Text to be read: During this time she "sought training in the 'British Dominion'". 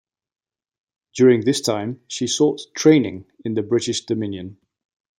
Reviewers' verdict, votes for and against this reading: accepted, 2, 0